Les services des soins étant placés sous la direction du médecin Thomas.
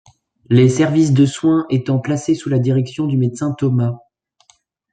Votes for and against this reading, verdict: 0, 2, rejected